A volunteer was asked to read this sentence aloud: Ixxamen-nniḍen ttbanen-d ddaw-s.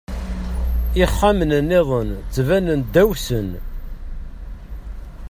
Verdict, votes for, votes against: rejected, 1, 2